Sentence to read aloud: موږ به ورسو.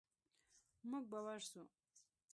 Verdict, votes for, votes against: accepted, 2, 0